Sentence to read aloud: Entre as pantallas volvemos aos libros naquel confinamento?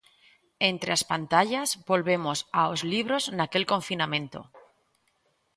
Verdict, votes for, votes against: accepted, 2, 0